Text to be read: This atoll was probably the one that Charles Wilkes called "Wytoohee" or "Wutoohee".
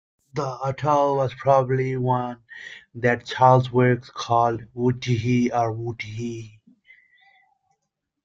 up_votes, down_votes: 2, 1